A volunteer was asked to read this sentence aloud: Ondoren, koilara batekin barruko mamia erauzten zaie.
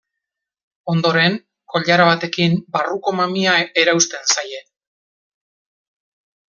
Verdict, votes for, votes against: accepted, 2, 1